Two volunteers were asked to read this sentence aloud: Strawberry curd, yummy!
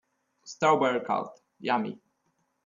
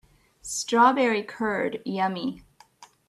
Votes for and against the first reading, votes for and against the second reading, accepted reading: 0, 2, 2, 0, second